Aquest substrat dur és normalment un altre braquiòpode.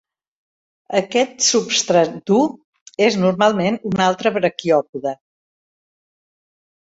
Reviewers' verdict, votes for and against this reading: accepted, 2, 0